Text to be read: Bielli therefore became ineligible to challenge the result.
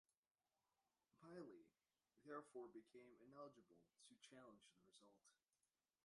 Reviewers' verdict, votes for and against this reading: rejected, 1, 2